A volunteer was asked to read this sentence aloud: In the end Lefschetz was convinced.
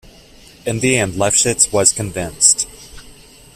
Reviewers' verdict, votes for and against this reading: accepted, 2, 0